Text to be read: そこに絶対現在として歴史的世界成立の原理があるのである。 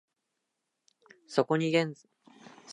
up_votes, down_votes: 0, 2